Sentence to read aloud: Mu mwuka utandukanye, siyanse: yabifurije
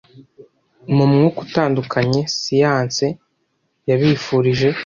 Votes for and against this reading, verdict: 2, 0, accepted